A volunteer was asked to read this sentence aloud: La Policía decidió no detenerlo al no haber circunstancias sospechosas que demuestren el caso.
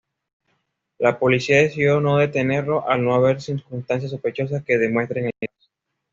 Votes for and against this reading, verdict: 2, 0, accepted